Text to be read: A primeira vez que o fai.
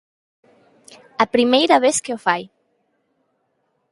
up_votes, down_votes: 2, 0